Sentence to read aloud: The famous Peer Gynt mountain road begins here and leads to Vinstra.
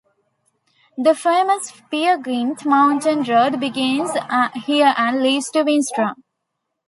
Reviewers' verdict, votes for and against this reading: rejected, 1, 2